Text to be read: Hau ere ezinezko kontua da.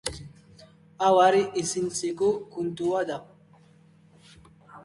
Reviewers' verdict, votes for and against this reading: rejected, 0, 2